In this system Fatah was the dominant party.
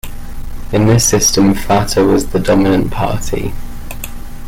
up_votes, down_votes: 2, 1